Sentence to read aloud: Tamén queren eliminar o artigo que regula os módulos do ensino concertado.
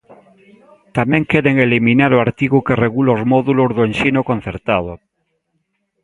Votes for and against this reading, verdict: 2, 0, accepted